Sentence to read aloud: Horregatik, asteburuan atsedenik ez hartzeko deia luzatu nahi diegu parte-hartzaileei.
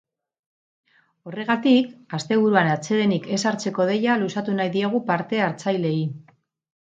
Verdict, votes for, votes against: rejected, 0, 4